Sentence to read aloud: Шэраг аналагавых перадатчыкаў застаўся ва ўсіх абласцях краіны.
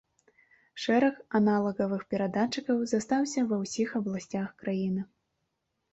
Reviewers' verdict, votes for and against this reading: accepted, 2, 0